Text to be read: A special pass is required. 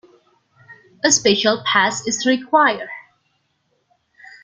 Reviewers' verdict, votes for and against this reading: rejected, 1, 2